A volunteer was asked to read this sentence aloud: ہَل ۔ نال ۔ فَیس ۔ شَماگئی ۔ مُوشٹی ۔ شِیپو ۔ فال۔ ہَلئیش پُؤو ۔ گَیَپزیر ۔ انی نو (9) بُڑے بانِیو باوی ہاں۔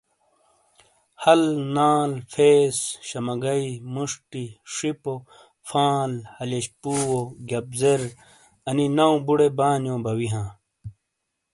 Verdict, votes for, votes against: rejected, 0, 2